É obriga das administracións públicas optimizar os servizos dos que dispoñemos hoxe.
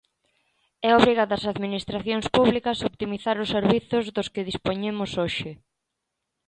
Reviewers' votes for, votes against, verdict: 2, 0, accepted